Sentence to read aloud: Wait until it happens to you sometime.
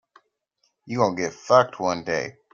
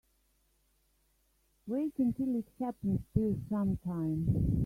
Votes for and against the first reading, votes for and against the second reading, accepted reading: 0, 3, 2, 1, second